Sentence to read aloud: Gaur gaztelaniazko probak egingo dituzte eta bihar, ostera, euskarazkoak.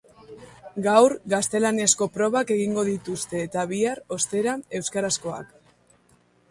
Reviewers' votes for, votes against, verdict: 0, 2, rejected